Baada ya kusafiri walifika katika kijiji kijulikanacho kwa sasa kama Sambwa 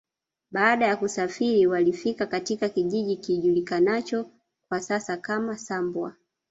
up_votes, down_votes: 1, 2